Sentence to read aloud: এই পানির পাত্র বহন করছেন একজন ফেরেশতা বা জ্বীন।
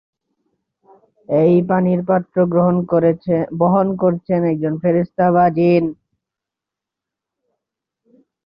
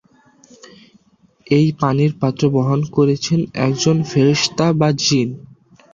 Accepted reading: second